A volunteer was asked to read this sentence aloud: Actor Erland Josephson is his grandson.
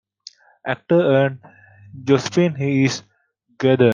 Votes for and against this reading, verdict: 0, 2, rejected